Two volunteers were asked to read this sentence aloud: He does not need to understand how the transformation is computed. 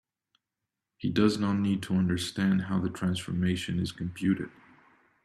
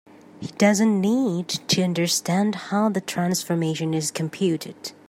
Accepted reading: first